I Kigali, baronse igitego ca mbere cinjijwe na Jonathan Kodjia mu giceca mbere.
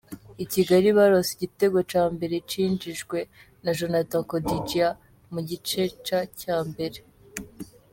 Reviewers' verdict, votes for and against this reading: rejected, 1, 2